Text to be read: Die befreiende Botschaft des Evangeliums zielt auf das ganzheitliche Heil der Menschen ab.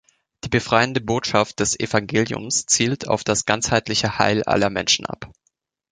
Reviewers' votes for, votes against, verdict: 0, 2, rejected